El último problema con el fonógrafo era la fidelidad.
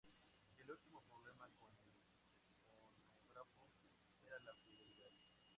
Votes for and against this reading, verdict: 0, 2, rejected